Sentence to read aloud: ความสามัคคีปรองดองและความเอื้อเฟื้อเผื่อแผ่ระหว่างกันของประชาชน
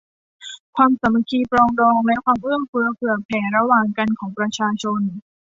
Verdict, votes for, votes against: accepted, 2, 0